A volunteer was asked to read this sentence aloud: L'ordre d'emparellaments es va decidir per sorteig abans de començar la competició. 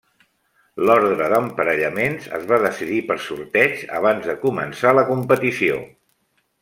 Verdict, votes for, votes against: accepted, 2, 0